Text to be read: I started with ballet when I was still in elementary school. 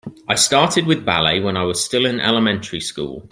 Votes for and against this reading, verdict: 2, 0, accepted